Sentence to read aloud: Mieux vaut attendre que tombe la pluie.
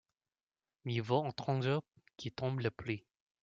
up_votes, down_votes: 0, 2